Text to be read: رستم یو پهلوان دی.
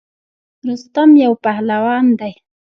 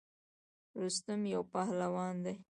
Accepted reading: second